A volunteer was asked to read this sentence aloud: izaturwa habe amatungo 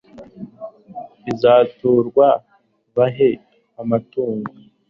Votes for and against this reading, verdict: 2, 3, rejected